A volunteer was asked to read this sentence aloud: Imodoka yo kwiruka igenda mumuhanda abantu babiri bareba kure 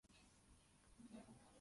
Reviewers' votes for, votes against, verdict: 0, 2, rejected